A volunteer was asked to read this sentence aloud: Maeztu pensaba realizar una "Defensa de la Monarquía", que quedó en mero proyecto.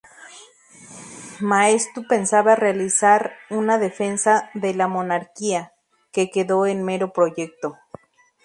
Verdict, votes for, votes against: rejected, 0, 2